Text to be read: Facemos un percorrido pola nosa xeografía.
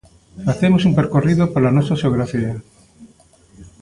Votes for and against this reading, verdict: 1, 2, rejected